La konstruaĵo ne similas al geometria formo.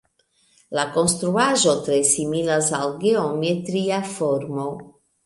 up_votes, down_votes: 0, 2